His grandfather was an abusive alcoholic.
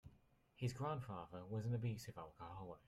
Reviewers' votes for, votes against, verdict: 2, 0, accepted